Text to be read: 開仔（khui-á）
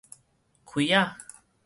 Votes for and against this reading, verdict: 4, 0, accepted